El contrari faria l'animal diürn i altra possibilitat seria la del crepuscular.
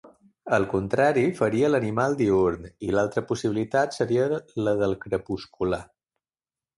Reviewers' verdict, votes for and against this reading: accepted, 2, 1